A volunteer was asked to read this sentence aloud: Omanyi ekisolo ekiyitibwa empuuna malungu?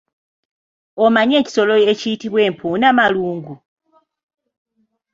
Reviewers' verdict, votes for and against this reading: accepted, 2, 1